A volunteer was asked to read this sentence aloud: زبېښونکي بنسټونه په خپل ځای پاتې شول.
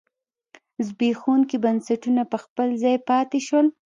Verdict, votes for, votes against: accepted, 2, 0